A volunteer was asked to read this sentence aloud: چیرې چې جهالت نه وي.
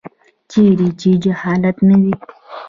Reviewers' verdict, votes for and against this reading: rejected, 1, 2